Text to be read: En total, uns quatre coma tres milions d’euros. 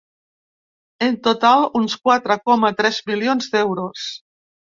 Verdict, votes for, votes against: accepted, 3, 0